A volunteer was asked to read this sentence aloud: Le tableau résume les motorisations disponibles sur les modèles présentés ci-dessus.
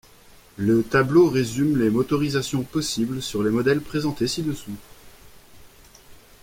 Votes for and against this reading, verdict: 1, 2, rejected